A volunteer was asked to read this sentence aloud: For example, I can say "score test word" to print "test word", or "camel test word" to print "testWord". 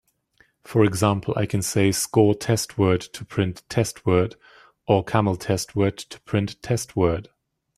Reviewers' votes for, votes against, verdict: 2, 0, accepted